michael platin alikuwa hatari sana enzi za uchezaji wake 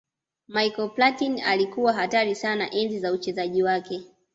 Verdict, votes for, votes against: accepted, 2, 0